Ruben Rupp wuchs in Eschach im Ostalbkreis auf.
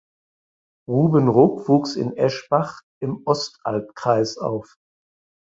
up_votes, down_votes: 0, 4